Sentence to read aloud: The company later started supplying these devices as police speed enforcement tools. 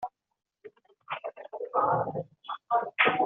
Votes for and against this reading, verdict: 0, 2, rejected